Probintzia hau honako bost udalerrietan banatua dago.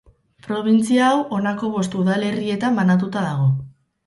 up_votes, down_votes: 4, 0